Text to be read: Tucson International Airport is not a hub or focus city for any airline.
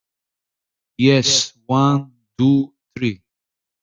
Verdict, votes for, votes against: rejected, 0, 2